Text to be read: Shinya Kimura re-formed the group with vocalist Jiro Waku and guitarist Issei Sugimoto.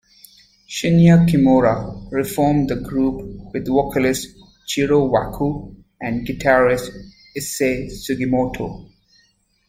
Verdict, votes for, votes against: accepted, 2, 0